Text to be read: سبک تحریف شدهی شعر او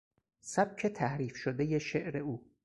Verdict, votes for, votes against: accepted, 4, 0